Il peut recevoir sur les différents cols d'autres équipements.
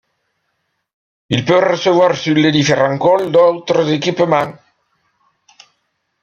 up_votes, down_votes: 1, 2